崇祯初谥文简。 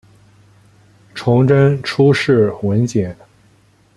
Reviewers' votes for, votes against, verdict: 2, 0, accepted